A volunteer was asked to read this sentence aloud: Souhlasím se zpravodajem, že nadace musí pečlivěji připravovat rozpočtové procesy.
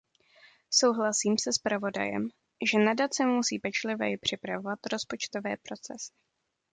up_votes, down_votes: 2, 0